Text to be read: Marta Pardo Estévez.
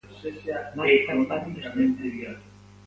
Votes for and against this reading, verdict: 0, 2, rejected